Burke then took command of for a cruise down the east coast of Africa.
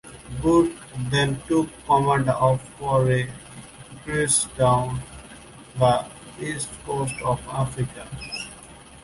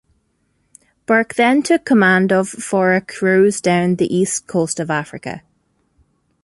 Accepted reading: second